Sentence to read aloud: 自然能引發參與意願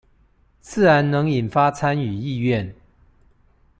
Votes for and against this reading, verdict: 2, 0, accepted